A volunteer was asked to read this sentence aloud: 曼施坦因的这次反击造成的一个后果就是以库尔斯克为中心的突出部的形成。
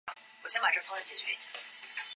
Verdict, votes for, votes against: rejected, 1, 4